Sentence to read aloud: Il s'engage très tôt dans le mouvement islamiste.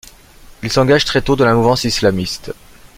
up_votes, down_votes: 1, 2